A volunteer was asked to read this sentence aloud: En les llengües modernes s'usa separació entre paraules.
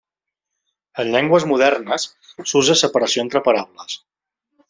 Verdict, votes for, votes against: rejected, 1, 2